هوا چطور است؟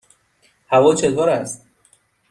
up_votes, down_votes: 2, 0